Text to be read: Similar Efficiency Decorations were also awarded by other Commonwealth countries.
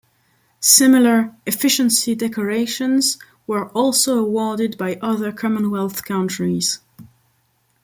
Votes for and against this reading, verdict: 2, 0, accepted